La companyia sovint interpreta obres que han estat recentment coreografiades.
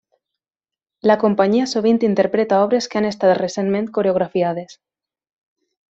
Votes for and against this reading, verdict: 3, 0, accepted